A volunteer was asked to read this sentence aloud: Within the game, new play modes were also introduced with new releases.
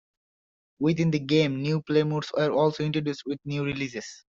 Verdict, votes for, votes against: accepted, 2, 0